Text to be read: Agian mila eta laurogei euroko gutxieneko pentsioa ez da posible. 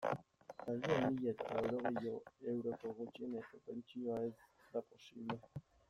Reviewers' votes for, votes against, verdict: 0, 2, rejected